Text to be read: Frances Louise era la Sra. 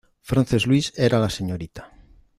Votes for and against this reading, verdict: 1, 2, rejected